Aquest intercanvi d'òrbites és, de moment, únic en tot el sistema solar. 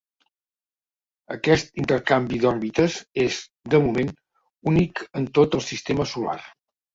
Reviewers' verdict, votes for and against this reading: accepted, 2, 1